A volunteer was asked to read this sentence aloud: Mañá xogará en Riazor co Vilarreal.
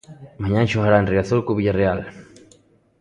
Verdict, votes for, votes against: rejected, 1, 2